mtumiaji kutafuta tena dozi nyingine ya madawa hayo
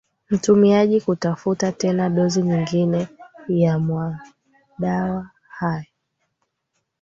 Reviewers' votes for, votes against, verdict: 0, 2, rejected